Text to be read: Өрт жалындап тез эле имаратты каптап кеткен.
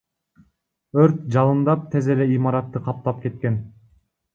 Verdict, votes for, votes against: rejected, 1, 2